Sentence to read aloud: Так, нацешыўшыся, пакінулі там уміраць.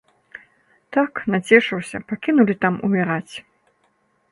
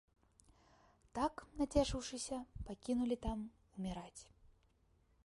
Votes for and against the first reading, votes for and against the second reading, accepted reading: 0, 2, 3, 0, second